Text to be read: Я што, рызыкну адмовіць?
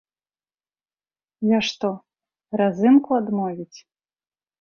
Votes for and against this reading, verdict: 0, 2, rejected